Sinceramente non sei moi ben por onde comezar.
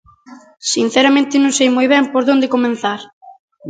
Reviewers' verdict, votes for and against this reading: rejected, 0, 2